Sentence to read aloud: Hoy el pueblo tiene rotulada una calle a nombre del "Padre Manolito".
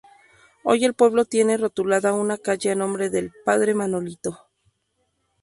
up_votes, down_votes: 0, 2